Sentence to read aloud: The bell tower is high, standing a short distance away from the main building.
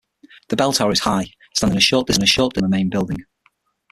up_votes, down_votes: 0, 6